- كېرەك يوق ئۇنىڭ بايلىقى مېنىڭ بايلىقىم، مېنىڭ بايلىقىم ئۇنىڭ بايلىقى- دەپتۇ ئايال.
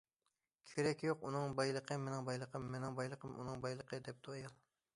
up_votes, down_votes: 2, 0